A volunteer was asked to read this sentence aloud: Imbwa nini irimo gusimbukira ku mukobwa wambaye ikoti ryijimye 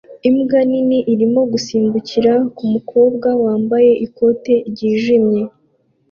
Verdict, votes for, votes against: accepted, 2, 0